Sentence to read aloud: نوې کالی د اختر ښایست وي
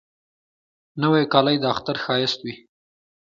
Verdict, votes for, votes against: rejected, 1, 2